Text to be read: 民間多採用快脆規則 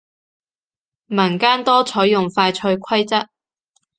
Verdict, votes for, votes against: accepted, 2, 0